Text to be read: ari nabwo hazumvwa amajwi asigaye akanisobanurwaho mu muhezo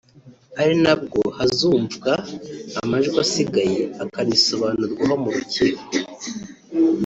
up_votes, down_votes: 1, 2